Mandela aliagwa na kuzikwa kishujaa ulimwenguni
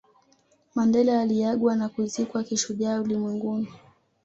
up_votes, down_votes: 2, 0